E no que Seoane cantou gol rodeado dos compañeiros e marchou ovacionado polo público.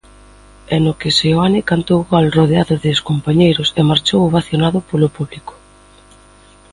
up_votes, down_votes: 2, 0